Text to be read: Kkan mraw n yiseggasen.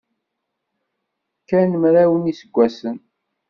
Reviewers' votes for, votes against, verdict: 2, 0, accepted